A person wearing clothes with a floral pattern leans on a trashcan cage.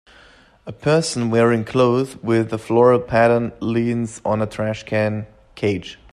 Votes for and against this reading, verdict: 1, 2, rejected